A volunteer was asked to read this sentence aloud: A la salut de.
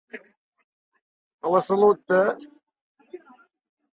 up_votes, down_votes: 0, 2